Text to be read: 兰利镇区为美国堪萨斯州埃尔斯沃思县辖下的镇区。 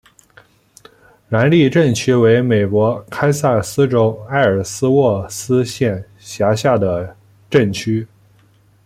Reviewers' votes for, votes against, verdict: 2, 0, accepted